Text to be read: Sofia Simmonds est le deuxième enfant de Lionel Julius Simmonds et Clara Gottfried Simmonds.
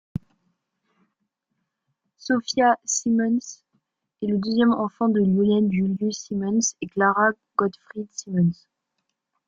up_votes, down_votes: 2, 0